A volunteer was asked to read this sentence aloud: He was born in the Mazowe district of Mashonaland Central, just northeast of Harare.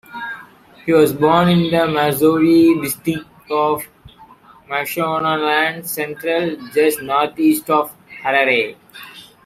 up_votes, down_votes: 1, 2